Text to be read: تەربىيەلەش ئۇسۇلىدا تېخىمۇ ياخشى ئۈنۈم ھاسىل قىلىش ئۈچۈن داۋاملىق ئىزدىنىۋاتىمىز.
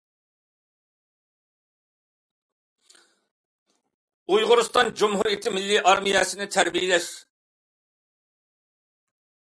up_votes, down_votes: 0, 2